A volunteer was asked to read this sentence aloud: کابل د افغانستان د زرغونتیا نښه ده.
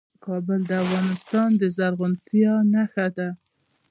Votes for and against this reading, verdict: 2, 0, accepted